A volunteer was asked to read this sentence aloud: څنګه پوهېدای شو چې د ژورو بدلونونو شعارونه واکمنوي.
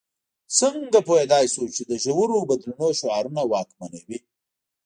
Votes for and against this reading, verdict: 1, 2, rejected